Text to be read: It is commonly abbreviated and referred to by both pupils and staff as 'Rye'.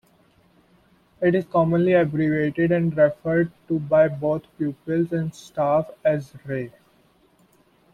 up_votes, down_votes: 2, 0